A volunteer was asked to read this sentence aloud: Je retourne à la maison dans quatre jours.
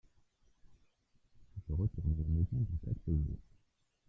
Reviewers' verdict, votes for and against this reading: rejected, 0, 2